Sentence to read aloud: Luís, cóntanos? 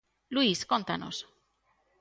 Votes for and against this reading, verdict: 2, 0, accepted